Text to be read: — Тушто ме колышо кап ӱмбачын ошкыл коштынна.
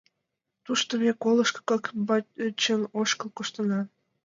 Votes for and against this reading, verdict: 2, 0, accepted